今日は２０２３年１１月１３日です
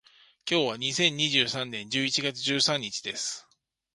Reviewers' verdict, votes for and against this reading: rejected, 0, 2